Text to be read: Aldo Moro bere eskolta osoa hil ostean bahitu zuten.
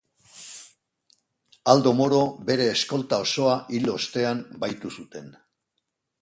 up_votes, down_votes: 2, 0